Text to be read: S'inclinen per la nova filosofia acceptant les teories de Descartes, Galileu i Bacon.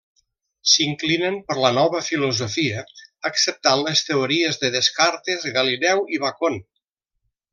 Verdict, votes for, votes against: rejected, 0, 2